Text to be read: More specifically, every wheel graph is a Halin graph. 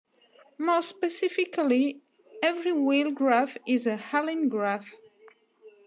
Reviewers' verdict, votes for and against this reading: accepted, 2, 0